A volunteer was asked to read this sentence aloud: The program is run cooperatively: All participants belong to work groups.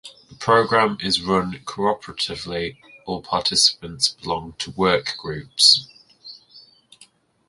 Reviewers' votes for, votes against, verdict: 1, 2, rejected